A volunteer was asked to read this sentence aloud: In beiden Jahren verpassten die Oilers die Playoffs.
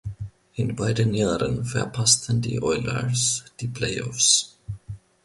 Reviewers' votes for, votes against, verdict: 2, 0, accepted